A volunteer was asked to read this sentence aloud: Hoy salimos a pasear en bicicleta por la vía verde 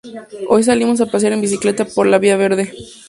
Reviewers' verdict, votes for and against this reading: accepted, 2, 0